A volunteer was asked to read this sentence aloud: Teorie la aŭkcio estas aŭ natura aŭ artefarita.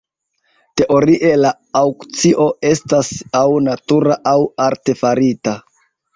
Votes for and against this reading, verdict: 2, 0, accepted